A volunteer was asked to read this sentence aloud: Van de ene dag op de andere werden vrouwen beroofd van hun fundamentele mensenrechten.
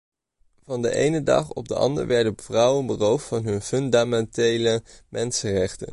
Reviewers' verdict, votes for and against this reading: rejected, 0, 2